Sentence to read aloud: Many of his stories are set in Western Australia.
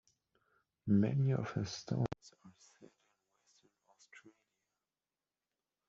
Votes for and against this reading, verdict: 0, 3, rejected